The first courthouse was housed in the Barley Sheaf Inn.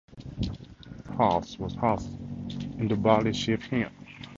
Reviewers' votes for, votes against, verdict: 2, 2, rejected